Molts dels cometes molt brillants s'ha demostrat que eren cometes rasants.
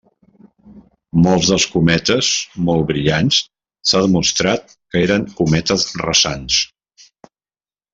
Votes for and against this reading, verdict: 0, 2, rejected